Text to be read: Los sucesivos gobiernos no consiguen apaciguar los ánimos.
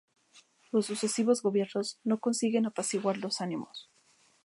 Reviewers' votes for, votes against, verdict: 2, 0, accepted